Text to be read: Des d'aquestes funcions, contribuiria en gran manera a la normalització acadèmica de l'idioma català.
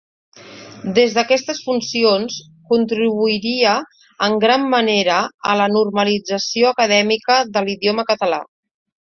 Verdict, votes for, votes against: accepted, 2, 0